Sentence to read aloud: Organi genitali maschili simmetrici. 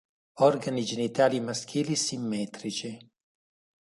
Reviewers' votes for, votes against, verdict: 2, 0, accepted